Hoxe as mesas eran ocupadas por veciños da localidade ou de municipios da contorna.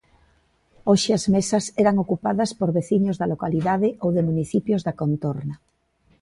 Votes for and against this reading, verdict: 2, 0, accepted